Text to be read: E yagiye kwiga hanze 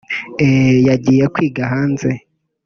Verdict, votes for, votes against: rejected, 1, 2